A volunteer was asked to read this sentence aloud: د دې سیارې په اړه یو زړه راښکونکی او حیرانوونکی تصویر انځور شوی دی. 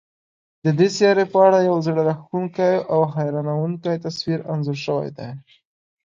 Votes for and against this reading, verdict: 2, 0, accepted